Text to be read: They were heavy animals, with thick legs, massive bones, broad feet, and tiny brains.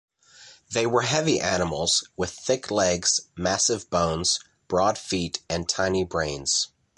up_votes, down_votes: 2, 0